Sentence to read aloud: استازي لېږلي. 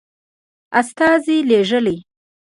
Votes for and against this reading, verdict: 2, 0, accepted